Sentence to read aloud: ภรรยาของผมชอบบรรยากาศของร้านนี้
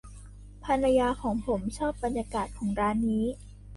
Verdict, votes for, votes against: accepted, 2, 0